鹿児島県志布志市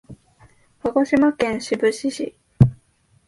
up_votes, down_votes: 2, 0